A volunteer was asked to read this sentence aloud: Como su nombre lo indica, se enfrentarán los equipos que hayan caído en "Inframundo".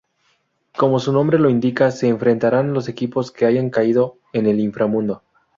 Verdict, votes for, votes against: rejected, 0, 2